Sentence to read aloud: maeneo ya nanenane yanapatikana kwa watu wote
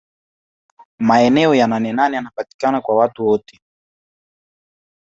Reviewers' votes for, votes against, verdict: 1, 2, rejected